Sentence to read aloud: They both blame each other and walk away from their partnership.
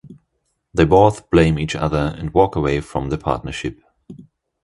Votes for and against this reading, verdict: 2, 0, accepted